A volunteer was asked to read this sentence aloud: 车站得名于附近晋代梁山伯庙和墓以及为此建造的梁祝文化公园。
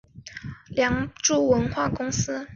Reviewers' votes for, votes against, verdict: 2, 2, rejected